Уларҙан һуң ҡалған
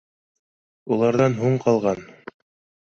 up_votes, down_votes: 2, 0